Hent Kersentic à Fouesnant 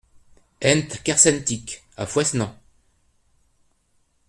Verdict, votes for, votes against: rejected, 1, 2